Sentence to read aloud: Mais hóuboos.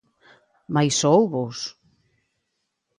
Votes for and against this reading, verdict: 2, 0, accepted